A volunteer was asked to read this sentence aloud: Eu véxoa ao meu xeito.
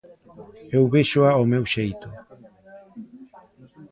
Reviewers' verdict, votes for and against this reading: rejected, 1, 2